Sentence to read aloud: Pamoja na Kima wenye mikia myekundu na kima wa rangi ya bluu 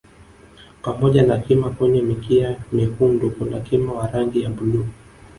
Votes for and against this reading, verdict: 3, 1, accepted